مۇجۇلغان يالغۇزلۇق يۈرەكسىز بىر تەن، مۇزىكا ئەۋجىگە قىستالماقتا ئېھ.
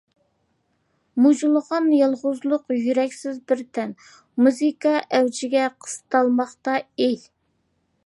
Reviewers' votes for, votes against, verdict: 2, 0, accepted